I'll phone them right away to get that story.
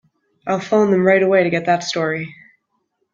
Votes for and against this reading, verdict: 3, 0, accepted